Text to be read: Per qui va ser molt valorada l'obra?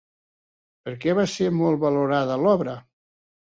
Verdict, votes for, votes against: rejected, 0, 2